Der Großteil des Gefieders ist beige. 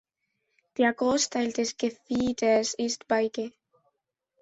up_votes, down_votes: 1, 3